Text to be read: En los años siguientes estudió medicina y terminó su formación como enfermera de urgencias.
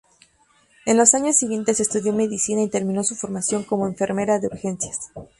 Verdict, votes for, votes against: accepted, 4, 0